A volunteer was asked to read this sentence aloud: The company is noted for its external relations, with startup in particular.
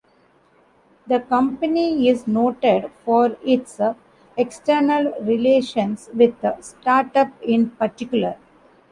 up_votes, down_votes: 1, 2